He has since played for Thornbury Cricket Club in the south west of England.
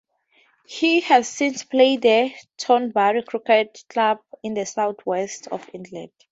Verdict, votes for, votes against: rejected, 0, 4